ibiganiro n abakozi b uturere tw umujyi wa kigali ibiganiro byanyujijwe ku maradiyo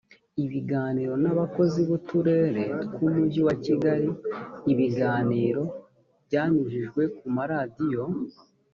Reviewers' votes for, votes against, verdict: 2, 0, accepted